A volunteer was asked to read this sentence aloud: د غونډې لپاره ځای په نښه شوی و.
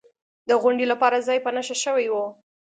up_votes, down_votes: 2, 0